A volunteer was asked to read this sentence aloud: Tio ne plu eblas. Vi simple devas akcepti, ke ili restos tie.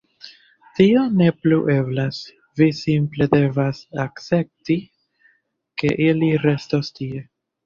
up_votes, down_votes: 2, 1